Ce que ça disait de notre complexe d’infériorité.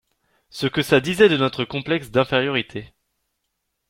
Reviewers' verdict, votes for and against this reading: accepted, 2, 0